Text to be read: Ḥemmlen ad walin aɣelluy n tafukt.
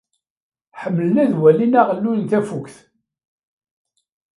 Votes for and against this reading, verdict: 2, 0, accepted